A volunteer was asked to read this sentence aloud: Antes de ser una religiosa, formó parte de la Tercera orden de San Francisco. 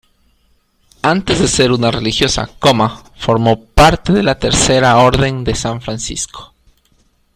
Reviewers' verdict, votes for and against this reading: accepted, 2, 1